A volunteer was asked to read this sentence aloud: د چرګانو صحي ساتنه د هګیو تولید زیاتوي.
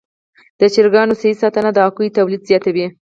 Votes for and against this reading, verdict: 4, 0, accepted